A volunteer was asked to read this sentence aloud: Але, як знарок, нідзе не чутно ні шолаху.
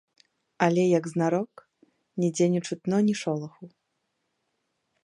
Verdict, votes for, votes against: accepted, 2, 0